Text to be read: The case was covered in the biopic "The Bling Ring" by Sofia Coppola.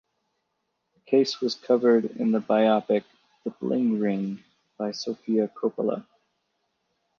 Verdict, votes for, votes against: rejected, 0, 4